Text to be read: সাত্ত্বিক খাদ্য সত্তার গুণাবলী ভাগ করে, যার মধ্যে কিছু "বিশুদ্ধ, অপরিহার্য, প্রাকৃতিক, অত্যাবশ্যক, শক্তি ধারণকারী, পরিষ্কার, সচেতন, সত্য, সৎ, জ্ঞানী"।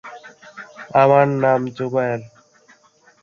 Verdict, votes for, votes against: rejected, 0, 3